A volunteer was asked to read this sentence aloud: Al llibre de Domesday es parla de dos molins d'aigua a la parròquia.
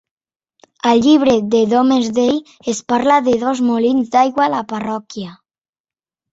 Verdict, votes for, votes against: accepted, 3, 0